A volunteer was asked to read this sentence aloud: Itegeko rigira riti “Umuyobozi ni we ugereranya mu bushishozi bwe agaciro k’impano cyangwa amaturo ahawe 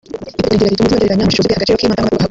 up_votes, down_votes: 0, 2